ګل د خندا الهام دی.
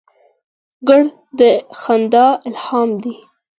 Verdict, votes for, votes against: accepted, 4, 0